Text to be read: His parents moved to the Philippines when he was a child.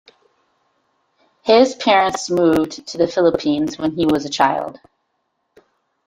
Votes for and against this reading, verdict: 2, 0, accepted